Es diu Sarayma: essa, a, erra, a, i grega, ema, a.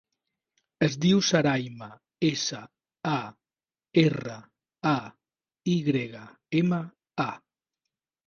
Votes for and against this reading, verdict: 4, 0, accepted